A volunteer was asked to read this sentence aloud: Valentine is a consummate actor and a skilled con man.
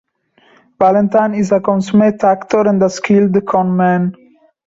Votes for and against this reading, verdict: 0, 2, rejected